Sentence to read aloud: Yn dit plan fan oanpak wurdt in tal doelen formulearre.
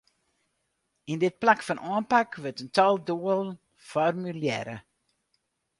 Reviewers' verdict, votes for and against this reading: rejected, 0, 4